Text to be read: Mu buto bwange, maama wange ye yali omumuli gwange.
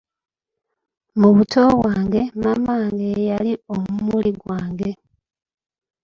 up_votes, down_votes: 2, 1